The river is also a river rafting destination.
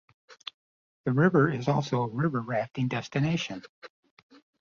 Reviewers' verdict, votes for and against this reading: rejected, 1, 2